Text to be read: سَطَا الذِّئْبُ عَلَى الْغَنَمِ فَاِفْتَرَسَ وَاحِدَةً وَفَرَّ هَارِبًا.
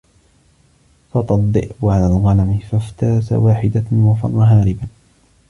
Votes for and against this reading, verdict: 2, 1, accepted